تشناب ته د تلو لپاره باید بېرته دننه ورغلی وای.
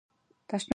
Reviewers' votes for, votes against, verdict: 0, 3, rejected